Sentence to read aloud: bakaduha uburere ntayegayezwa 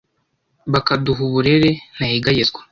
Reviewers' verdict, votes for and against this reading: accepted, 2, 0